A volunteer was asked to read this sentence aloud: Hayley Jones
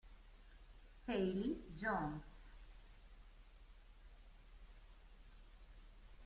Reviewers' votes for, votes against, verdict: 0, 2, rejected